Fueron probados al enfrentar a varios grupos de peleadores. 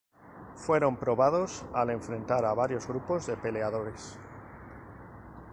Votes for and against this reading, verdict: 4, 0, accepted